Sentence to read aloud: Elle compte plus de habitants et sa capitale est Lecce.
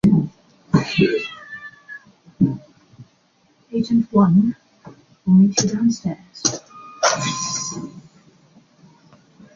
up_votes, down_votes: 0, 2